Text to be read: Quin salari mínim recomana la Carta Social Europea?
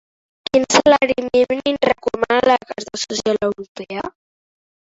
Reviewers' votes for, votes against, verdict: 0, 2, rejected